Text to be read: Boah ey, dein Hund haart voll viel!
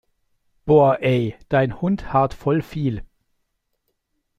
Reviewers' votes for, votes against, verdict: 2, 0, accepted